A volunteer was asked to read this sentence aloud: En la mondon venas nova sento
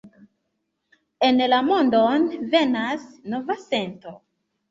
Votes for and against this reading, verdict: 3, 0, accepted